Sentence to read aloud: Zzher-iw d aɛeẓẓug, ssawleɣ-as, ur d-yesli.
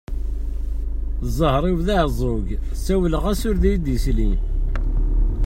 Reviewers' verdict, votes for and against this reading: rejected, 1, 2